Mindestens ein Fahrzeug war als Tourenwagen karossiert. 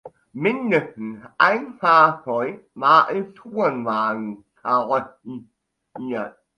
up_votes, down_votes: 0, 2